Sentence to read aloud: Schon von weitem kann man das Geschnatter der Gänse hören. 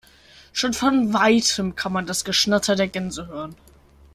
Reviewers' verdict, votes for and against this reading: accepted, 2, 0